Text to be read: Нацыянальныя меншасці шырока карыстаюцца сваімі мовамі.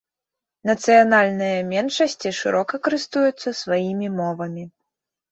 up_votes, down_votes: 0, 2